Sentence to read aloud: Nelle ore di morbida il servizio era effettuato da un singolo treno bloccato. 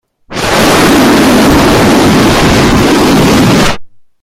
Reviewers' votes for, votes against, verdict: 0, 2, rejected